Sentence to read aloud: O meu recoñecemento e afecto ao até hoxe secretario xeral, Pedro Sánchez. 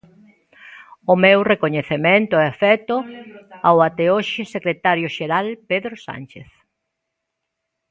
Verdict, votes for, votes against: rejected, 1, 2